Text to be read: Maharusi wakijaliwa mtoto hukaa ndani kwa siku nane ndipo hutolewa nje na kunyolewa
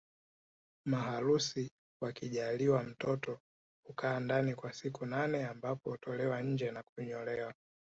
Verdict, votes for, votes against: rejected, 1, 3